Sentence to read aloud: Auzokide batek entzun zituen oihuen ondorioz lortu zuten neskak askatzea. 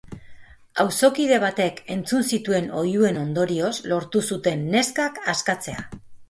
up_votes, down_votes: 4, 0